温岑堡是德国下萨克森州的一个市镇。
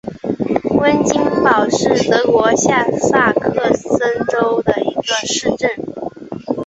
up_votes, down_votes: 2, 0